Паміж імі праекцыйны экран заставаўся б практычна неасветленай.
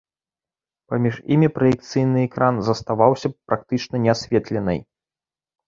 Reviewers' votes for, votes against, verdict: 2, 0, accepted